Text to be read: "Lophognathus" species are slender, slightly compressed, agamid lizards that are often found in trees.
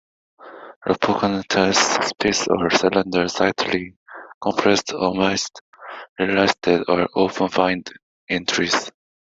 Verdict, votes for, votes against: rejected, 0, 2